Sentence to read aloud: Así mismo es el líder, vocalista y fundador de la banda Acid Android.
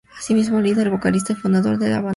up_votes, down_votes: 0, 2